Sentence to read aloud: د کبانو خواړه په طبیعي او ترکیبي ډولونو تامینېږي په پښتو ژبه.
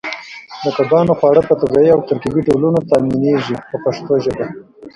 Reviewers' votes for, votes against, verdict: 0, 2, rejected